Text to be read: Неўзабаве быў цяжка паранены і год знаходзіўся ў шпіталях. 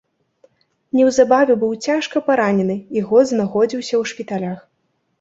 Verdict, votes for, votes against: accepted, 3, 0